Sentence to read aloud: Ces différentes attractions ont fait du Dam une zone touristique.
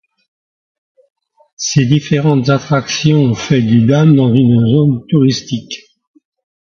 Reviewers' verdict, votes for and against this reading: rejected, 0, 2